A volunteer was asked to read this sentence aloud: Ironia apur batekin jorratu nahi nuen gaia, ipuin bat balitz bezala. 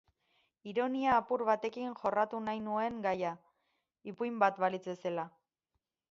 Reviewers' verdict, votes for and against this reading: rejected, 4, 6